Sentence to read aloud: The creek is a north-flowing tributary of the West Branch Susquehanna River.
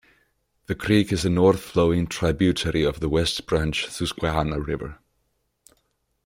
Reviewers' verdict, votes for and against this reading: accepted, 2, 0